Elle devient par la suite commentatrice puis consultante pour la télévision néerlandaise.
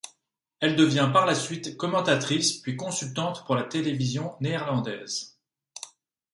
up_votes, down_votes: 2, 0